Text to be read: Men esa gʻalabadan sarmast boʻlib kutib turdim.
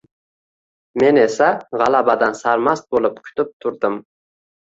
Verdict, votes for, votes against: accepted, 2, 0